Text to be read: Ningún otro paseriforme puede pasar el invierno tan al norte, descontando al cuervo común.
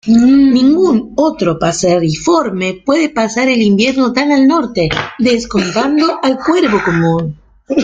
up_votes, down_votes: 1, 2